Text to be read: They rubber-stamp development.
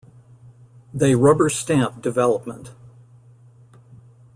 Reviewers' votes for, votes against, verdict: 2, 0, accepted